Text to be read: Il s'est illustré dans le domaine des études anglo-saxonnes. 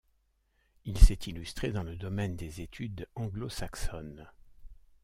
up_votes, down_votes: 2, 0